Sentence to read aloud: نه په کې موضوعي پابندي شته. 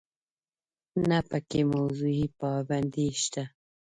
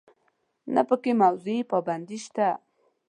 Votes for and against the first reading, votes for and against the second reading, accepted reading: 1, 2, 2, 0, second